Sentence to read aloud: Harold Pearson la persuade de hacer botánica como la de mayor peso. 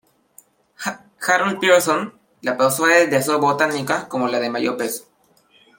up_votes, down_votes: 0, 2